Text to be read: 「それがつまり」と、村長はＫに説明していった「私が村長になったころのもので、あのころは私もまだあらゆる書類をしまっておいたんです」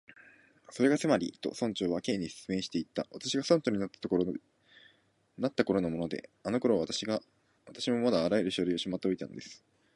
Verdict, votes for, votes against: rejected, 0, 2